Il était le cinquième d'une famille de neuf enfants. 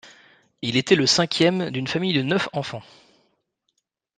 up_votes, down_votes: 2, 0